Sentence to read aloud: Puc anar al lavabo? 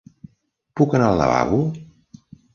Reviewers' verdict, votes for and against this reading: accepted, 3, 0